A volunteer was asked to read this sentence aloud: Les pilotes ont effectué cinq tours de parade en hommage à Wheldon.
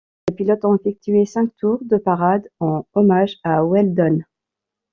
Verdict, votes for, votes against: rejected, 0, 2